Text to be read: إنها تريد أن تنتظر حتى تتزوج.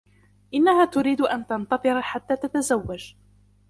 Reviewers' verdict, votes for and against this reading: accepted, 2, 0